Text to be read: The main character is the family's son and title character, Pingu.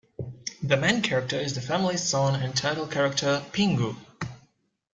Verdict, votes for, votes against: accepted, 2, 1